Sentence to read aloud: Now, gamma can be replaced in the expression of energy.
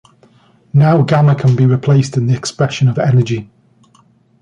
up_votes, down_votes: 2, 0